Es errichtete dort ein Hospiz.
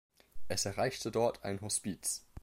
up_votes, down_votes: 1, 3